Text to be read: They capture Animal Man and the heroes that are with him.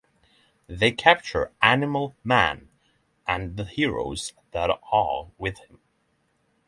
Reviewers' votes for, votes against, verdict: 6, 0, accepted